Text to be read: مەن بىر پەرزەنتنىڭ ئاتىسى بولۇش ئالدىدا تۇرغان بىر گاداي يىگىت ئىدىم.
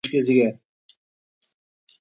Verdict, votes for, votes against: rejected, 0, 2